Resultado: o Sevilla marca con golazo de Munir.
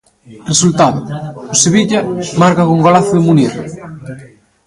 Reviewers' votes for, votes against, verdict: 1, 2, rejected